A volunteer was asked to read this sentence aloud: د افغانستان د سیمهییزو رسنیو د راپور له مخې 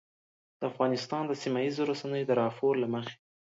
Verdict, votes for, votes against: accepted, 2, 0